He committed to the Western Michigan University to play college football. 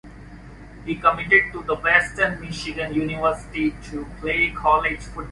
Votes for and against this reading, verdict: 1, 2, rejected